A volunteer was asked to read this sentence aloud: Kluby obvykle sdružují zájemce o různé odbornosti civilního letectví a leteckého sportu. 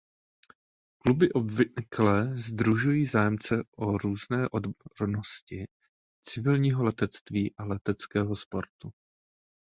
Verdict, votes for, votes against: rejected, 0, 2